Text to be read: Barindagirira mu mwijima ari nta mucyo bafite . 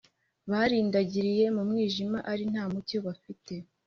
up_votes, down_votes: 2, 1